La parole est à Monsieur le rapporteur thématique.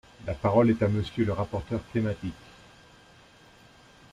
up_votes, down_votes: 2, 0